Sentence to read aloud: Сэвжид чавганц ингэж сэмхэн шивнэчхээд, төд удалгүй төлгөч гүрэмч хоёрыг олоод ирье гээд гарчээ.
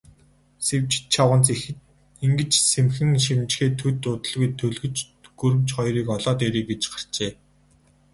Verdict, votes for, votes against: rejected, 0, 2